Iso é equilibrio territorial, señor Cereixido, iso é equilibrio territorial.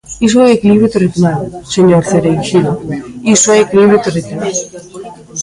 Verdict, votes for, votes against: rejected, 0, 2